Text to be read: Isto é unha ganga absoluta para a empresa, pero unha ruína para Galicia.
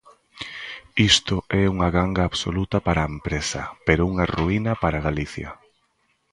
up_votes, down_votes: 2, 0